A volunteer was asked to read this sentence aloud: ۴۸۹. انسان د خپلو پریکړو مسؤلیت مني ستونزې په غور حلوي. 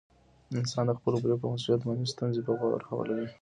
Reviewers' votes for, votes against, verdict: 0, 2, rejected